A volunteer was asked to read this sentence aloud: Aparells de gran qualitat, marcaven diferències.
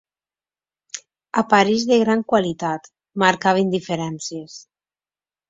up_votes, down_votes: 1, 2